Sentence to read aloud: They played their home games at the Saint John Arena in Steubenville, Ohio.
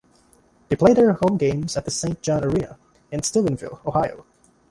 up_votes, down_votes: 0, 2